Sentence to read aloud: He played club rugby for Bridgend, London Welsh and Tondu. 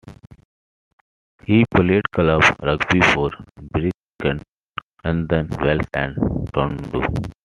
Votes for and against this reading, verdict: 1, 2, rejected